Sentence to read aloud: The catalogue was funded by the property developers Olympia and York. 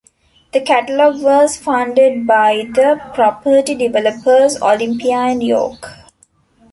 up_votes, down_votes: 2, 0